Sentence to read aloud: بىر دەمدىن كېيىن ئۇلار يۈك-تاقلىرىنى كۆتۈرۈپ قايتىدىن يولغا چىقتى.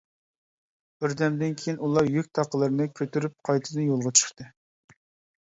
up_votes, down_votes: 2, 0